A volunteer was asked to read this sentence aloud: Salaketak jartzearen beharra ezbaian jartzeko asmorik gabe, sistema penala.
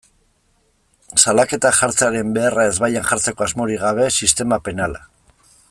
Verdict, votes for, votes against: accepted, 2, 0